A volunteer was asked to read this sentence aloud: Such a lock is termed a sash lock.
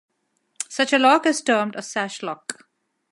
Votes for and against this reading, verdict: 2, 1, accepted